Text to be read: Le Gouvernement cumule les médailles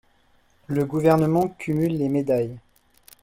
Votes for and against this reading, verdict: 2, 0, accepted